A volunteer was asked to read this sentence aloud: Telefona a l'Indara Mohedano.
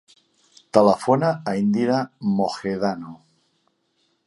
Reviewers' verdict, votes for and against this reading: rejected, 0, 2